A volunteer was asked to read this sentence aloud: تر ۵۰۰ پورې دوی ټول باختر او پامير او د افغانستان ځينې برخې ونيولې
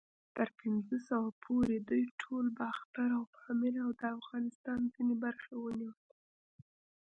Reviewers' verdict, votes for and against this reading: rejected, 0, 2